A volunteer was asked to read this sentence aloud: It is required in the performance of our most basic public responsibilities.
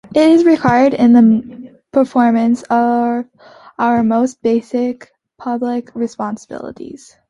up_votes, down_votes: 3, 1